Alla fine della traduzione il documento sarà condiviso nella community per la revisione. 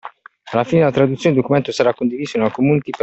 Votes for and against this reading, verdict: 1, 2, rejected